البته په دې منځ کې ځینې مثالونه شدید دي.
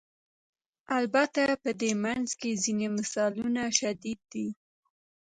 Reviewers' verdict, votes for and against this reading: accepted, 2, 0